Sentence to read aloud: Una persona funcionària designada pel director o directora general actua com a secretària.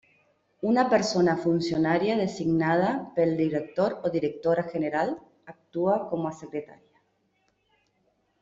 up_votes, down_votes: 0, 2